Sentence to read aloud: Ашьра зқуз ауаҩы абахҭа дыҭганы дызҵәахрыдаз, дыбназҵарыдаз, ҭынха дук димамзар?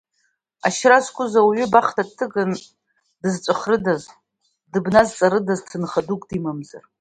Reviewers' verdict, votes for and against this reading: rejected, 0, 2